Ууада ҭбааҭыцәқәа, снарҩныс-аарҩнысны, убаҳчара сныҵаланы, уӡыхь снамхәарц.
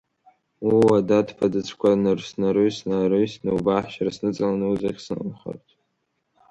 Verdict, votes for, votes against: rejected, 1, 2